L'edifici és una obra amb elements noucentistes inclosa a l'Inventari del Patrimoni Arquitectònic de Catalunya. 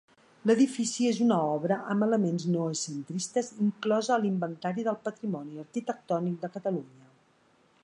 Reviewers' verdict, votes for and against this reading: accepted, 2, 1